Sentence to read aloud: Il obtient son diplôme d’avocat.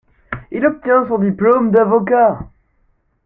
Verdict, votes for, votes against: accepted, 2, 0